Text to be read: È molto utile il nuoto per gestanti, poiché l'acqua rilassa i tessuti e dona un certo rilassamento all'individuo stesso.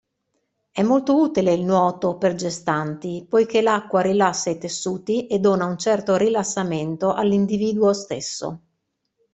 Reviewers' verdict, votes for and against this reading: accepted, 2, 0